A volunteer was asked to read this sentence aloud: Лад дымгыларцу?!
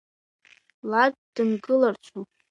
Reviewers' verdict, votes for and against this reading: accepted, 2, 1